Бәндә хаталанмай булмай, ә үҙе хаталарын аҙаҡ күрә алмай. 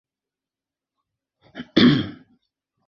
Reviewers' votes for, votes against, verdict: 0, 2, rejected